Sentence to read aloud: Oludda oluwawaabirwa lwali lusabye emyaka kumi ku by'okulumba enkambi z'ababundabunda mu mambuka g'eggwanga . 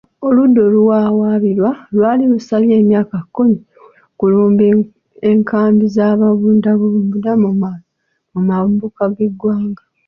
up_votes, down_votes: 0, 2